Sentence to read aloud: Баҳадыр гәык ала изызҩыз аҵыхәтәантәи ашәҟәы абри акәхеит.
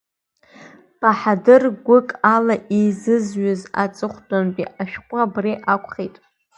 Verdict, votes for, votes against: accepted, 3, 1